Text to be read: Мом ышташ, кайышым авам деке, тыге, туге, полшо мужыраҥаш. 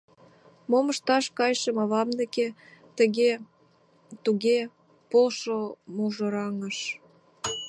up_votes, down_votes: 1, 2